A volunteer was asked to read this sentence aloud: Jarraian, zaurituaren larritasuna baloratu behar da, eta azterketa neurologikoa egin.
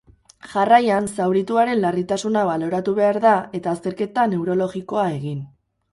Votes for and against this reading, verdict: 6, 0, accepted